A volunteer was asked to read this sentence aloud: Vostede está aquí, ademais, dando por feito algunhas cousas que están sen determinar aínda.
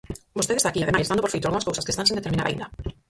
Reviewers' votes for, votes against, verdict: 0, 4, rejected